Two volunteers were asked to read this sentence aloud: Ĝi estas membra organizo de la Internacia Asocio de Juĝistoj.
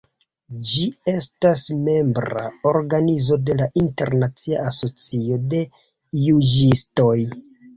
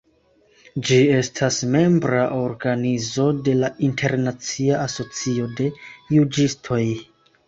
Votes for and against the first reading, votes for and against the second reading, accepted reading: 0, 2, 2, 0, second